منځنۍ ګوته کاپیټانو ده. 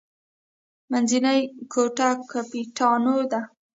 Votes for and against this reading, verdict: 1, 2, rejected